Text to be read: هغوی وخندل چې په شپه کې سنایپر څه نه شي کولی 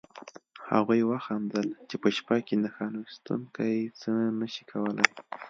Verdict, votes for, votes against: rejected, 0, 2